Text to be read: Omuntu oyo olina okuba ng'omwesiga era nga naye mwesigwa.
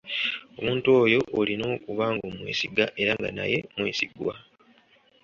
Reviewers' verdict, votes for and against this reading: accepted, 2, 0